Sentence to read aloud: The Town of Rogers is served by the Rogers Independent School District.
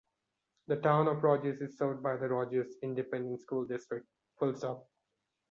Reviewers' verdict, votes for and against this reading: rejected, 0, 2